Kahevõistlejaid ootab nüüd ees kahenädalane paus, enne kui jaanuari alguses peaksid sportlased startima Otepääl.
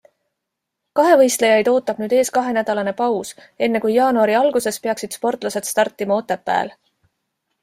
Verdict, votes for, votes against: accepted, 2, 0